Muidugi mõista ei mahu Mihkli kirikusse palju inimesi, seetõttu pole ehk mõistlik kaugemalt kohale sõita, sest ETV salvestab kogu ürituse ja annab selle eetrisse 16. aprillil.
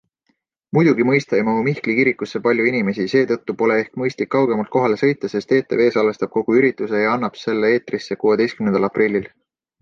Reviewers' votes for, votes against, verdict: 0, 2, rejected